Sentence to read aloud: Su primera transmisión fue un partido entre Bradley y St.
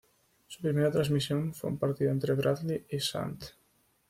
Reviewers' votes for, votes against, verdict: 0, 2, rejected